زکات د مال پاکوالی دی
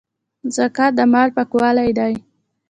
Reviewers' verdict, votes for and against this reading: accepted, 2, 1